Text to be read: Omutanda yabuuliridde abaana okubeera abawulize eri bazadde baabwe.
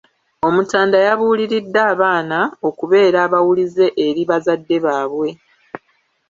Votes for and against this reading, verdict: 1, 2, rejected